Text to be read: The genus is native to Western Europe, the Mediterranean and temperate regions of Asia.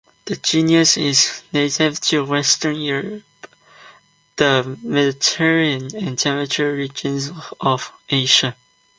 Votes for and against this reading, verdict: 0, 2, rejected